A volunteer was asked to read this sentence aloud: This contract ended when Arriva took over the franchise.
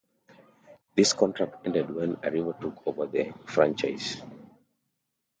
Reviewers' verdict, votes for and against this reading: accepted, 2, 0